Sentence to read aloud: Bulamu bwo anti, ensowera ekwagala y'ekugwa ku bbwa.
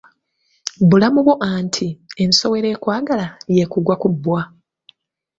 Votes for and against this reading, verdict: 3, 2, accepted